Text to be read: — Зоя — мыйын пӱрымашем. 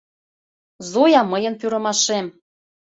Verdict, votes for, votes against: accepted, 2, 0